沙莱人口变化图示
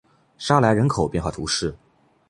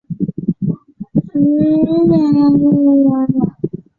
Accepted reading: first